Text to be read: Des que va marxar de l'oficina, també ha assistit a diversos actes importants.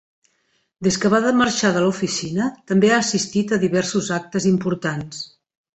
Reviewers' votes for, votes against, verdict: 1, 2, rejected